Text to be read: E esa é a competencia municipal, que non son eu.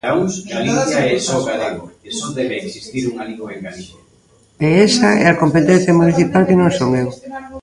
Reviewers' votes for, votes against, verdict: 0, 2, rejected